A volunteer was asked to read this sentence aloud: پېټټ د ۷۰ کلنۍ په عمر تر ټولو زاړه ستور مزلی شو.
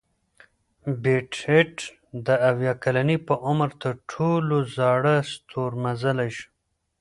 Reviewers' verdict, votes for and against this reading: rejected, 0, 2